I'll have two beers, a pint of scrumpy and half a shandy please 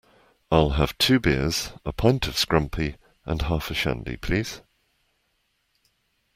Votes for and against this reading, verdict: 2, 0, accepted